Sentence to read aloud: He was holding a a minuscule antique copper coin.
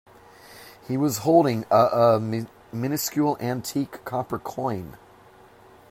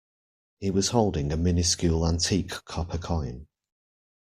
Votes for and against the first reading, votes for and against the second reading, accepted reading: 2, 0, 0, 2, first